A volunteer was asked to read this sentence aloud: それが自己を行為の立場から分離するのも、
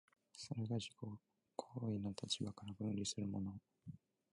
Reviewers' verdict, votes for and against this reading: rejected, 0, 3